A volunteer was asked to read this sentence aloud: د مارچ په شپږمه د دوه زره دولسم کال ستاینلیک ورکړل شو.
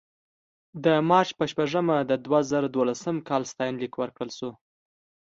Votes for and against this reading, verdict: 2, 0, accepted